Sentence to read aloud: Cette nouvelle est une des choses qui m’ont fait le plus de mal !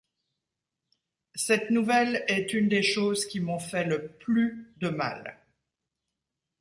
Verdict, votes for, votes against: rejected, 1, 2